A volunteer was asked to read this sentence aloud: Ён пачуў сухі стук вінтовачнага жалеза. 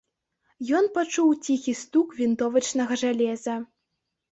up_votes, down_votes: 0, 2